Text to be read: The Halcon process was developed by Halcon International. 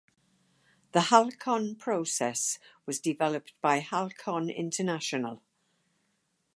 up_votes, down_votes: 4, 0